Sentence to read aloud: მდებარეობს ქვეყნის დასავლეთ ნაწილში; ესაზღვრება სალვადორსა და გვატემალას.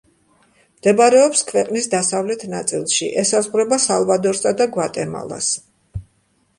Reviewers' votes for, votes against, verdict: 2, 0, accepted